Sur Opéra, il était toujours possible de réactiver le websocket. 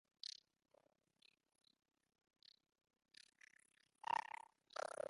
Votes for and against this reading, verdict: 0, 2, rejected